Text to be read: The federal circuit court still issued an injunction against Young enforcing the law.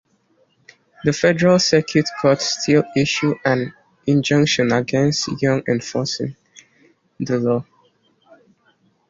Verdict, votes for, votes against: accepted, 2, 0